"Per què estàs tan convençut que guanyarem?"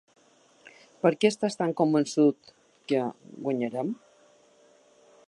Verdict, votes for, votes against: accepted, 3, 0